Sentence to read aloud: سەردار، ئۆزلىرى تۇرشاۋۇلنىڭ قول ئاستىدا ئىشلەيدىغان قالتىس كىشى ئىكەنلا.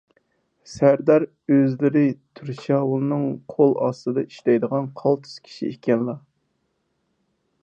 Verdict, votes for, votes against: accepted, 4, 0